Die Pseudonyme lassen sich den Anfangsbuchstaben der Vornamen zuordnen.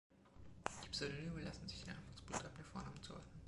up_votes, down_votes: 2, 0